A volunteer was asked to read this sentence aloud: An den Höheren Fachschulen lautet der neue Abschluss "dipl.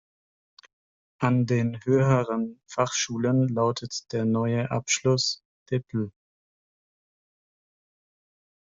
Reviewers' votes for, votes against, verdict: 0, 2, rejected